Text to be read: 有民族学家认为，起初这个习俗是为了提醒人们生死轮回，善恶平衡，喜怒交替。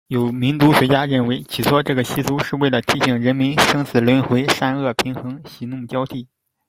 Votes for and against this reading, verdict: 2, 0, accepted